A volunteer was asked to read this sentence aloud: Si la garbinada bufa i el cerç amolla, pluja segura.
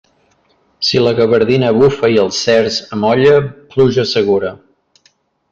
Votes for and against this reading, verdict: 0, 2, rejected